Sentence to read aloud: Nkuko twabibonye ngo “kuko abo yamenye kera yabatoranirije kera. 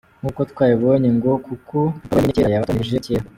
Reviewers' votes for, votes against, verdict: 1, 2, rejected